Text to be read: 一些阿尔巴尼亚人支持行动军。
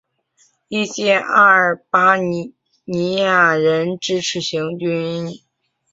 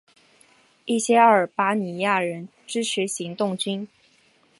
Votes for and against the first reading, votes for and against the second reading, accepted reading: 1, 2, 3, 0, second